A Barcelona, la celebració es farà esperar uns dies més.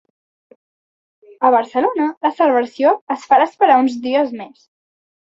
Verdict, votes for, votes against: accepted, 2, 0